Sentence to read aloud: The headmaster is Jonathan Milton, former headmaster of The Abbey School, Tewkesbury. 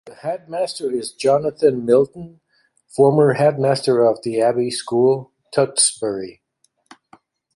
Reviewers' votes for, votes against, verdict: 1, 2, rejected